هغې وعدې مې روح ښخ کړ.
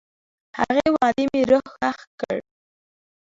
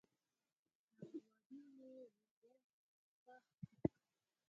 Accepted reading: first